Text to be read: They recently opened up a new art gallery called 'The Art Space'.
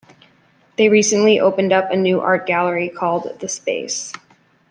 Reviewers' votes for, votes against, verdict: 0, 2, rejected